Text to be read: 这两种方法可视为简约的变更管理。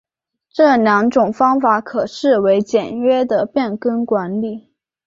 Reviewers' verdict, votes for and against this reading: accepted, 5, 1